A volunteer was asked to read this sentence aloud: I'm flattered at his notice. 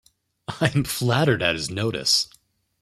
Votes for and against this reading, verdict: 0, 2, rejected